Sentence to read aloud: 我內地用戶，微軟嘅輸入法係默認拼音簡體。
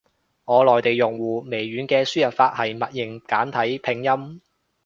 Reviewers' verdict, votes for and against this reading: rejected, 1, 2